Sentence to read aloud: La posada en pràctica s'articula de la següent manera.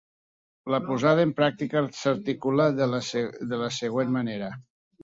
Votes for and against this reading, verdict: 0, 3, rejected